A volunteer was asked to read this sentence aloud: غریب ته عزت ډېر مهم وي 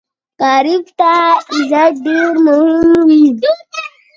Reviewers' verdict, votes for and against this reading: rejected, 0, 2